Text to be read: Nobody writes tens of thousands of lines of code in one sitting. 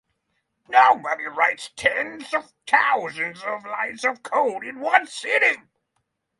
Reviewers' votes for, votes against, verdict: 3, 0, accepted